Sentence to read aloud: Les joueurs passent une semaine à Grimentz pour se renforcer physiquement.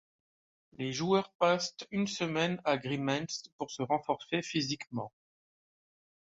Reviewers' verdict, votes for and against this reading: accepted, 2, 0